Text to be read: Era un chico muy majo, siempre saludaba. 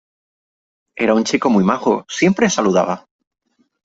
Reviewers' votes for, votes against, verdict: 3, 0, accepted